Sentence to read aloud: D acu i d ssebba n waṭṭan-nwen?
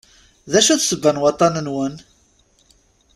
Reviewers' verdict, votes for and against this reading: accepted, 2, 0